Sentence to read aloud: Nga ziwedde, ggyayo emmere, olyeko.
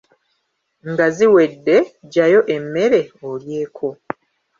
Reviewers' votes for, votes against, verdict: 1, 2, rejected